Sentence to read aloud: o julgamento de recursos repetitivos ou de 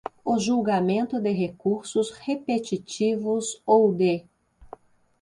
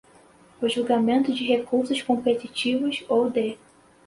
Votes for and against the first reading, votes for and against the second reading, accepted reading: 2, 0, 0, 2, first